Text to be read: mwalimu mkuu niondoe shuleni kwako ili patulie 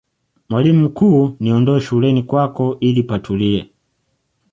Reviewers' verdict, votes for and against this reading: accepted, 2, 0